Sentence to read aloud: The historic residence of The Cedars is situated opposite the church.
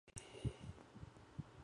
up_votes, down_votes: 0, 2